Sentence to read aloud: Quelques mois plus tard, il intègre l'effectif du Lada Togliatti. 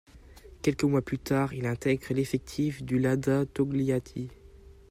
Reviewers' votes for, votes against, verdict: 1, 2, rejected